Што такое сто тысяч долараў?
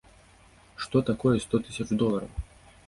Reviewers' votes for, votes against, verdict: 2, 0, accepted